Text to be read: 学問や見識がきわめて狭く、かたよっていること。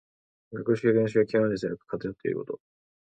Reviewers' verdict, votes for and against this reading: rejected, 0, 2